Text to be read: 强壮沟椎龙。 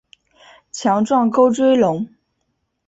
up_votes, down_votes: 2, 0